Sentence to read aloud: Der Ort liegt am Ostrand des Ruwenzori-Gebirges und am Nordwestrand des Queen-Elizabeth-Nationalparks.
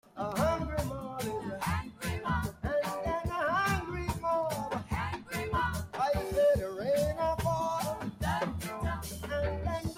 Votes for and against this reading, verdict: 0, 2, rejected